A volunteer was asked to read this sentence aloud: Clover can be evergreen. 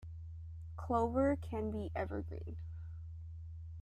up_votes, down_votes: 2, 0